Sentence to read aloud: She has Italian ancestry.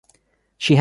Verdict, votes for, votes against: rejected, 0, 2